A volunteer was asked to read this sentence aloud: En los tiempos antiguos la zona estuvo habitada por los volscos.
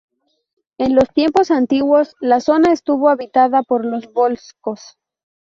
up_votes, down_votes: 0, 2